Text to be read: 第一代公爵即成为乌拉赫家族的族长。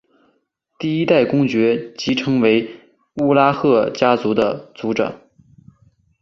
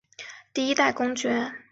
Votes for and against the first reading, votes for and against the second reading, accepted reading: 4, 1, 0, 3, first